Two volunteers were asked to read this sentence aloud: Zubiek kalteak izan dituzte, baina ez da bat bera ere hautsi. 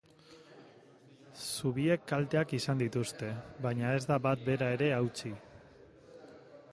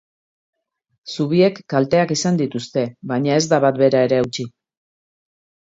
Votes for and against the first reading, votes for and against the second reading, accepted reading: 0, 2, 2, 0, second